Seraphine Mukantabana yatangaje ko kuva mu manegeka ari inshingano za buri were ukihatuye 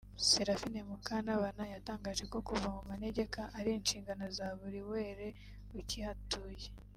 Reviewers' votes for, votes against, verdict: 2, 1, accepted